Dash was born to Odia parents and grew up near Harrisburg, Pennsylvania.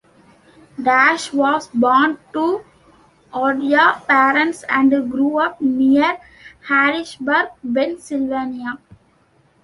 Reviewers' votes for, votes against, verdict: 1, 2, rejected